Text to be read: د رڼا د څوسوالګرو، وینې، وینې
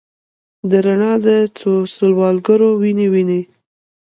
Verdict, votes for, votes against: rejected, 1, 2